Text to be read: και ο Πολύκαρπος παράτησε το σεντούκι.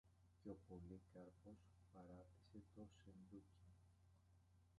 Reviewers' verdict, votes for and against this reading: rejected, 0, 2